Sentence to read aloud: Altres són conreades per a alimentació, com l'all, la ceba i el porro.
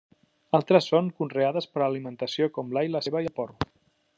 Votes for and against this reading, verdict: 2, 0, accepted